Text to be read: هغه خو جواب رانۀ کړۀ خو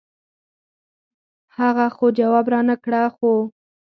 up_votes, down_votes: 2, 4